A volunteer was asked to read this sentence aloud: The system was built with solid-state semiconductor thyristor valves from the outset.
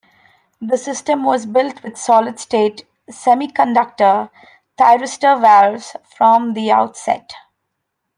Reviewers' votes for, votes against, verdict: 2, 0, accepted